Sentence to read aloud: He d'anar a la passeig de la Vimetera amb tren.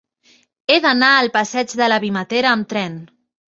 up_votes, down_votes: 2, 0